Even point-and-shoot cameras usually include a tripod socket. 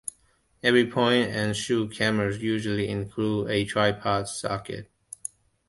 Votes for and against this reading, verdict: 1, 2, rejected